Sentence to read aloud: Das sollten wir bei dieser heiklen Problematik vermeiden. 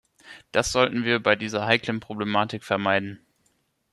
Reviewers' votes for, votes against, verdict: 2, 0, accepted